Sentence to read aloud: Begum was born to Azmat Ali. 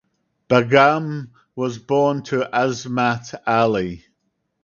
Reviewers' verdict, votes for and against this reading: accepted, 4, 0